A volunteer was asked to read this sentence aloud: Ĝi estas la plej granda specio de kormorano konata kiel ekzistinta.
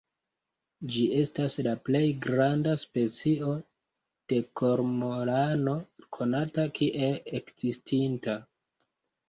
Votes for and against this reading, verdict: 1, 2, rejected